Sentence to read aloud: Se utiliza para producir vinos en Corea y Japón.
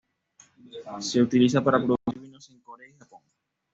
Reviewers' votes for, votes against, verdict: 1, 2, rejected